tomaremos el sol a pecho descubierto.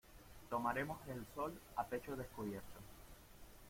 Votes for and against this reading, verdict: 2, 0, accepted